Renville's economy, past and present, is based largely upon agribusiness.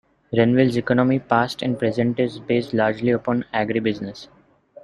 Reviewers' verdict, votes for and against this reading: accepted, 2, 0